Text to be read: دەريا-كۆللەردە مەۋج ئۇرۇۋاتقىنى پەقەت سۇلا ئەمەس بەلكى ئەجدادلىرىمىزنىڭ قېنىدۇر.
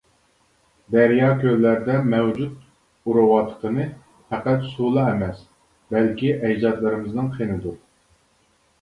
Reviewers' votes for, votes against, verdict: 0, 2, rejected